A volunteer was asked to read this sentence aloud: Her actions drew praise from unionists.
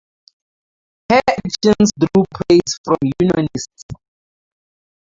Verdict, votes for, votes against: rejected, 0, 2